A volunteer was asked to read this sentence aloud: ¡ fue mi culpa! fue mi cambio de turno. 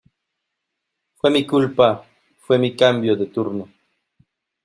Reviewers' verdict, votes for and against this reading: accepted, 2, 0